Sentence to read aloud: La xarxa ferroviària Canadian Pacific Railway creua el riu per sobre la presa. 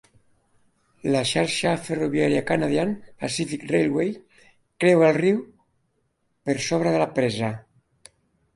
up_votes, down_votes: 1, 2